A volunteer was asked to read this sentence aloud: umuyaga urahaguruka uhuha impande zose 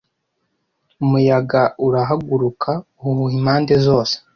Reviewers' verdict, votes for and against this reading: accepted, 2, 0